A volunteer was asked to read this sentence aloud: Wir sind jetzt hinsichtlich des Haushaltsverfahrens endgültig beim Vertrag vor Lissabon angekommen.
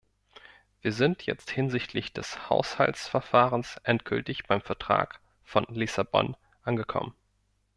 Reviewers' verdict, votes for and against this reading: rejected, 0, 2